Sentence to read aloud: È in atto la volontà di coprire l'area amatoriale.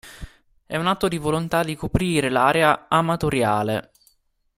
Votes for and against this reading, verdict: 1, 2, rejected